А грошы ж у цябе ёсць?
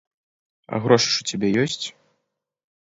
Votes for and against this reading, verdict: 2, 0, accepted